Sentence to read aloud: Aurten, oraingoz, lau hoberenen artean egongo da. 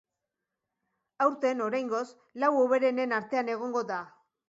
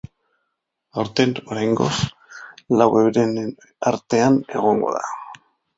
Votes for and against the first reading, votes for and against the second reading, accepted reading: 2, 0, 0, 2, first